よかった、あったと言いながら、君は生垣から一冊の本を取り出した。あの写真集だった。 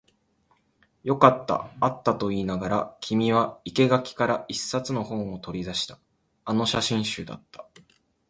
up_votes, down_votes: 1, 2